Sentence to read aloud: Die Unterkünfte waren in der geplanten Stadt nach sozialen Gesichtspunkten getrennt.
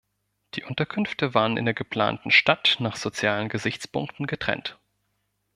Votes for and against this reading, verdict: 2, 0, accepted